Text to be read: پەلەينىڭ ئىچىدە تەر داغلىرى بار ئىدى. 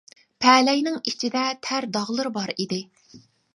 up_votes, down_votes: 2, 0